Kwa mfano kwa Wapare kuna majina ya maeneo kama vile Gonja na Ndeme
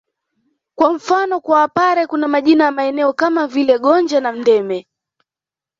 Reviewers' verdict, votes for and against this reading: accepted, 2, 0